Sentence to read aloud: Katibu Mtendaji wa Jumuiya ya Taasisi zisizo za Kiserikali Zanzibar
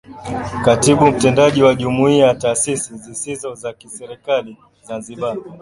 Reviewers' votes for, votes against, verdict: 2, 1, accepted